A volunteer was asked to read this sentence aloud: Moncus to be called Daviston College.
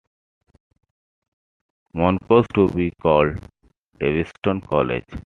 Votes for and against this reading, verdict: 2, 0, accepted